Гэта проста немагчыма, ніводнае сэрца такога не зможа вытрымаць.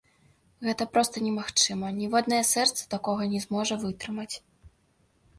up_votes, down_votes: 2, 1